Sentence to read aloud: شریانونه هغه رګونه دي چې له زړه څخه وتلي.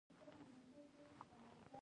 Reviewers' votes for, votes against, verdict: 0, 2, rejected